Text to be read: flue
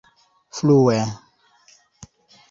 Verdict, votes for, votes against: accepted, 2, 1